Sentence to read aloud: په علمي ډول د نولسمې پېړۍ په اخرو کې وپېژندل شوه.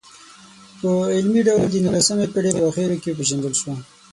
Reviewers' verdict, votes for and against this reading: rejected, 3, 6